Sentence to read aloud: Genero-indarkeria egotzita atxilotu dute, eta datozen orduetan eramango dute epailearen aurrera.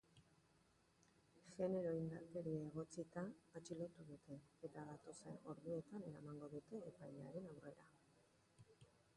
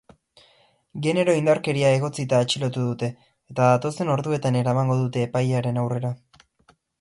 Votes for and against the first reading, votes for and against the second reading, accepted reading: 1, 2, 6, 0, second